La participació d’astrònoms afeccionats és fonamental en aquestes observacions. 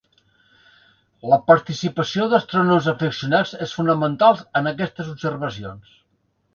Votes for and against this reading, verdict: 1, 2, rejected